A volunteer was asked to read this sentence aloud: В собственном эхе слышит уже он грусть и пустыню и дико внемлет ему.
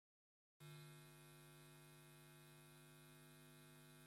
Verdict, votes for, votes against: rejected, 0, 2